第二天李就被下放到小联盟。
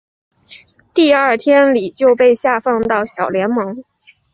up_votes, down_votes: 2, 0